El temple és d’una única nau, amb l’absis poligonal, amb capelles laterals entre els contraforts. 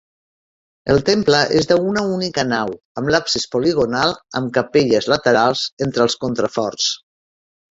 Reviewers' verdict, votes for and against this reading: rejected, 1, 2